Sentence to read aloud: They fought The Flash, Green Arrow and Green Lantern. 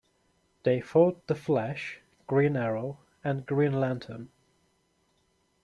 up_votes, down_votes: 2, 0